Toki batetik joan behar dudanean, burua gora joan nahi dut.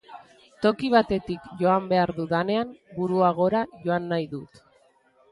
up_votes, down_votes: 2, 0